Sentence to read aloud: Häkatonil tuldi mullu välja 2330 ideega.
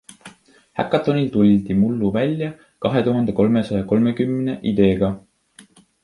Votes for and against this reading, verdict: 0, 2, rejected